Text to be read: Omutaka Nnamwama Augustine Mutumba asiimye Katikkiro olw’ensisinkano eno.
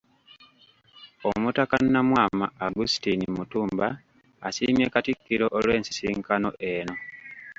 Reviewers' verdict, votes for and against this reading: rejected, 0, 2